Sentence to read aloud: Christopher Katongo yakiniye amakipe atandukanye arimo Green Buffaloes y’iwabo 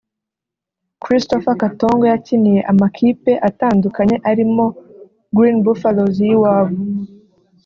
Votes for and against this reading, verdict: 2, 0, accepted